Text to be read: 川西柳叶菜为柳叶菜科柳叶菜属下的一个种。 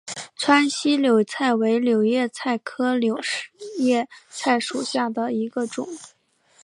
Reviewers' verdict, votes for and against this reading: accepted, 2, 1